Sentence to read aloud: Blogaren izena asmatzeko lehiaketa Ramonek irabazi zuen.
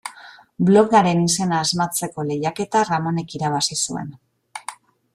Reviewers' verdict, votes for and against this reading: accepted, 2, 0